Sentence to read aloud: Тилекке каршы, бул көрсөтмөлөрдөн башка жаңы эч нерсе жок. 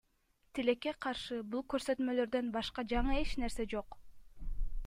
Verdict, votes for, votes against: accepted, 2, 1